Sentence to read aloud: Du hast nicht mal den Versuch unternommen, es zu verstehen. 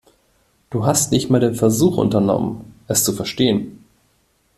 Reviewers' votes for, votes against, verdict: 2, 0, accepted